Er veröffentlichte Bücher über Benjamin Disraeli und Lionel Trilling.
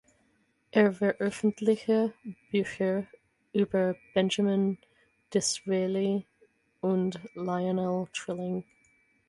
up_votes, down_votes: 0, 6